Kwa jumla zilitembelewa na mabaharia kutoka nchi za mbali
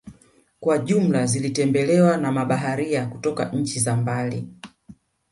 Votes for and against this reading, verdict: 2, 0, accepted